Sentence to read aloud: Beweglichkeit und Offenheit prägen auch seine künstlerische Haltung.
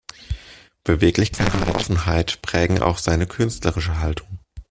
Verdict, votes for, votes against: accepted, 2, 0